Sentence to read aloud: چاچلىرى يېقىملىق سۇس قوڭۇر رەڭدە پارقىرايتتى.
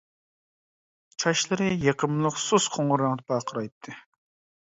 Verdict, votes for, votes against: rejected, 1, 2